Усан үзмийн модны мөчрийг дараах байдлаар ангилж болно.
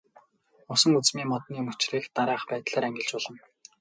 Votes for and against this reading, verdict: 0, 2, rejected